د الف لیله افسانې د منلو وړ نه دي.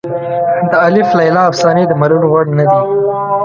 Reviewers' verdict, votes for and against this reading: rejected, 0, 2